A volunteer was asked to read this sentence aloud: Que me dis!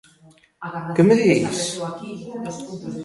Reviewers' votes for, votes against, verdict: 2, 0, accepted